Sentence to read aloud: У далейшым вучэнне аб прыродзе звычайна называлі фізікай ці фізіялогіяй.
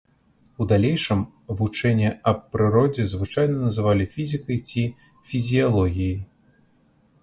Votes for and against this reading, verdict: 2, 0, accepted